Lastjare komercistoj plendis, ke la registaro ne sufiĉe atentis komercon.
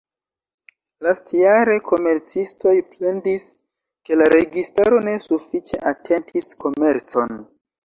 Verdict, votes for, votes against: rejected, 1, 2